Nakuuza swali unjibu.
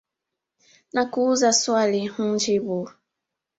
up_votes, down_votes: 3, 0